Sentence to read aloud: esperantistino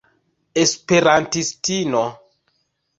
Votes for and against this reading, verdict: 2, 0, accepted